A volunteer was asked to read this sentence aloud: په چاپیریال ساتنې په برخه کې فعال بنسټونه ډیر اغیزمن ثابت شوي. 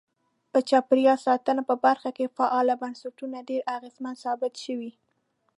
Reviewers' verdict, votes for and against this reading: rejected, 1, 2